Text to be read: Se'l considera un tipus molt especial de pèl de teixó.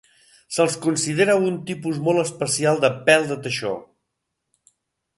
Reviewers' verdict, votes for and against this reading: rejected, 1, 3